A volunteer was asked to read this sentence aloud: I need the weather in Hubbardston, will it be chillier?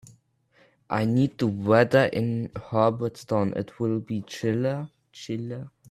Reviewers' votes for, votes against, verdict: 0, 2, rejected